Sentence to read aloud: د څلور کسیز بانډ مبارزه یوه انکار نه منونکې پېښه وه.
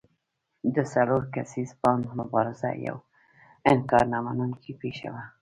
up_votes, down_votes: 2, 0